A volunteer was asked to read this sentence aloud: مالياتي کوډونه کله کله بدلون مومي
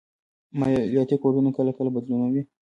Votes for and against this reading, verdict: 2, 0, accepted